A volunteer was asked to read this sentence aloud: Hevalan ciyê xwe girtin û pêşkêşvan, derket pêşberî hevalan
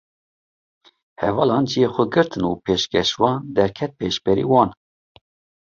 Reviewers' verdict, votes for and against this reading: rejected, 1, 2